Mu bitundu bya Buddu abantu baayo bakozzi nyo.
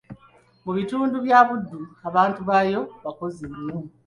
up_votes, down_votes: 2, 0